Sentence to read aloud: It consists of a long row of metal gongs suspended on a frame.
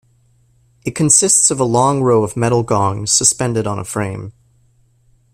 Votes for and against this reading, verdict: 2, 0, accepted